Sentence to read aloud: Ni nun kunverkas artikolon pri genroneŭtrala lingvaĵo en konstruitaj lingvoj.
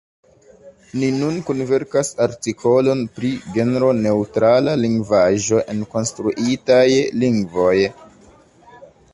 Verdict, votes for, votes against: accepted, 2, 0